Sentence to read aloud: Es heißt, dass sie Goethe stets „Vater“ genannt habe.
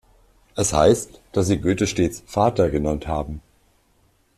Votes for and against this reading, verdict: 1, 2, rejected